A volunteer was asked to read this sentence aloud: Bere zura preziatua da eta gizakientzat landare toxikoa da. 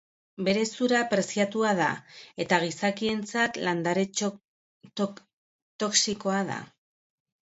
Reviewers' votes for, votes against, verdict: 0, 4, rejected